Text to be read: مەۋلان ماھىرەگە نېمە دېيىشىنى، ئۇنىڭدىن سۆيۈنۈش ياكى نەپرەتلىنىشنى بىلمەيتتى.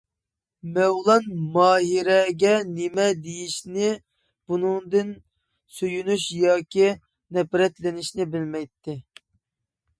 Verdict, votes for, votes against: rejected, 1, 2